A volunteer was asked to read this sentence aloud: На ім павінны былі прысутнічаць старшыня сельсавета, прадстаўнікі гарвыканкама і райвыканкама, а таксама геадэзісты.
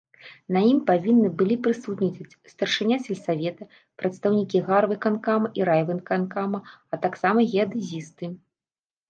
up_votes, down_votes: 0, 2